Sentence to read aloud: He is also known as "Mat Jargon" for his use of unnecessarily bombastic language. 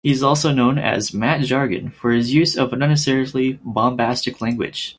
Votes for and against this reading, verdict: 2, 4, rejected